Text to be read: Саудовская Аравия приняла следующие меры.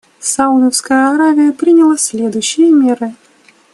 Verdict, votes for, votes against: rejected, 1, 2